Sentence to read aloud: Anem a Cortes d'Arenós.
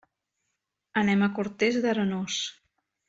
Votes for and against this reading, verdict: 2, 1, accepted